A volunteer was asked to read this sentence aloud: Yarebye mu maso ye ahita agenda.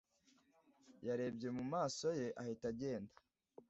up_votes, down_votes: 2, 0